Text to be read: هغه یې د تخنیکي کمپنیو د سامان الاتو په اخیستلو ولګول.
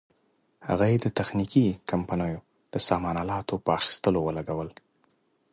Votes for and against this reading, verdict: 2, 0, accepted